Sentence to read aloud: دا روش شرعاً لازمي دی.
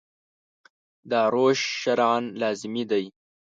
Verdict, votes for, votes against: rejected, 1, 2